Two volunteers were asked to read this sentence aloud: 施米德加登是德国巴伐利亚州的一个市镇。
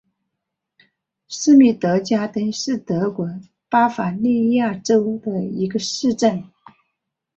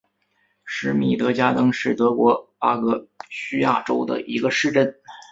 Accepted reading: first